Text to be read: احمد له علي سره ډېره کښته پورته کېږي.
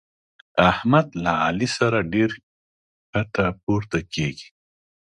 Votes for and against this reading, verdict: 1, 2, rejected